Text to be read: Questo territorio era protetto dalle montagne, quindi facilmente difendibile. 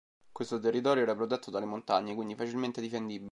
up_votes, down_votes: 0, 2